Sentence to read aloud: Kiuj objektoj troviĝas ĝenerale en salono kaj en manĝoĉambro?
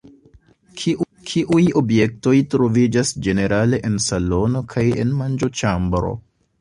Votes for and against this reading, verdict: 0, 2, rejected